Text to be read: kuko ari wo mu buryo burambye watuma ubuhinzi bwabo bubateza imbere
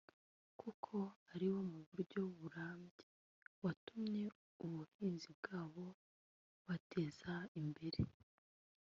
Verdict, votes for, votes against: rejected, 1, 2